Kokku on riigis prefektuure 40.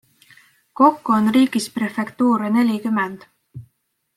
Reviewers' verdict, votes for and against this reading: rejected, 0, 2